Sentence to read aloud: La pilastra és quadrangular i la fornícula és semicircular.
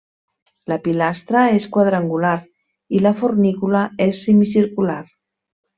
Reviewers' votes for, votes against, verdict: 3, 0, accepted